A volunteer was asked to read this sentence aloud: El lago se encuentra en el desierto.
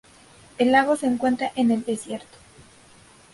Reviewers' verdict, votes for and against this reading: accepted, 2, 0